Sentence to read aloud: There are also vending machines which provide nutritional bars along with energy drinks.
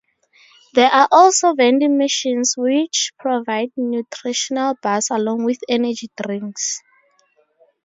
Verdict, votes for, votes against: accepted, 2, 0